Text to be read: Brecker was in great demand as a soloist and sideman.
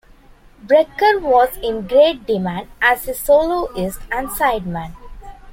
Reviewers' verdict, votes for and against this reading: accepted, 2, 0